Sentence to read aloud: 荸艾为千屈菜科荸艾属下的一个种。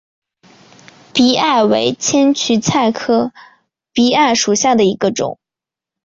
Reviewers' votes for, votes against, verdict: 2, 0, accepted